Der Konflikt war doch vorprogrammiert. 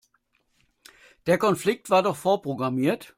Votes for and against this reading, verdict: 2, 0, accepted